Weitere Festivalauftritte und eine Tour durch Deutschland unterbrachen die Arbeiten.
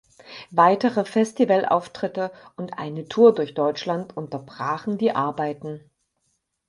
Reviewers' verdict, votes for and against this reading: accepted, 4, 0